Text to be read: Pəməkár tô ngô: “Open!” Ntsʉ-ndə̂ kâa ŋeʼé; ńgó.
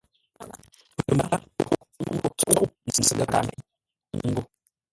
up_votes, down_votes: 0, 2